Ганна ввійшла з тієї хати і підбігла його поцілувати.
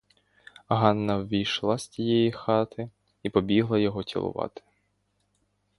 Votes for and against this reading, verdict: 0, 2, rejected